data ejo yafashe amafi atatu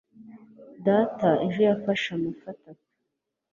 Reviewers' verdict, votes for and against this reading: accepted, 3, 0